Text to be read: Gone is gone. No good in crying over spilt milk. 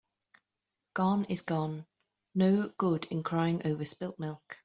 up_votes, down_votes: 2, 0